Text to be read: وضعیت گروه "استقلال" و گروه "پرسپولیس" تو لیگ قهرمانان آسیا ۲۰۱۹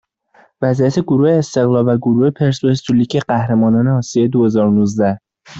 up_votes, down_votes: 0, 2